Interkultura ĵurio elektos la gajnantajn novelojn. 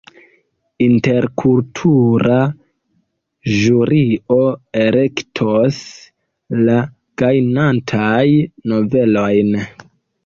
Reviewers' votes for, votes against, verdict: 0, 3, rejected